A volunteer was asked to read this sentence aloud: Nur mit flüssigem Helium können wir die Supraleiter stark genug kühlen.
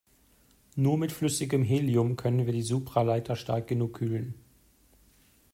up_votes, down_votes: 2, 0